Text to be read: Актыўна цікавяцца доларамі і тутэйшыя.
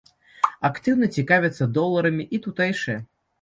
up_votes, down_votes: 3, 0